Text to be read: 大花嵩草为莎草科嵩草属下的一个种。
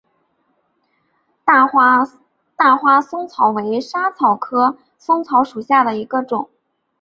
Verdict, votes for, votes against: accepted, 2, 0